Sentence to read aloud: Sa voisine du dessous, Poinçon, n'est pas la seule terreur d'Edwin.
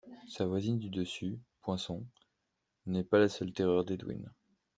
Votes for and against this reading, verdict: 2, 0, accepted